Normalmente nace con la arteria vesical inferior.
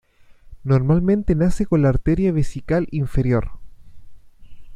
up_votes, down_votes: 2, 0